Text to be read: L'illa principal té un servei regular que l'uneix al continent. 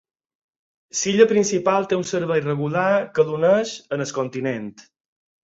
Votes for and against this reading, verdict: 4, 0, accepted